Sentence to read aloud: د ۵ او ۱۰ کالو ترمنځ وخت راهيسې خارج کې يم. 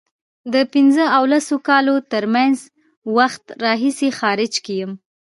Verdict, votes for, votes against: rejected, 0, 2